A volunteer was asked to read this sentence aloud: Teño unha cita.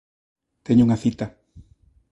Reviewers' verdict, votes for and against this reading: accepted, 2, 0